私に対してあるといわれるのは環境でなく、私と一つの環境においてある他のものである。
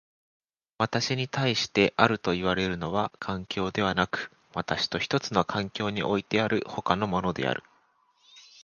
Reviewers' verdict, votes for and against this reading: rejected, 1, 2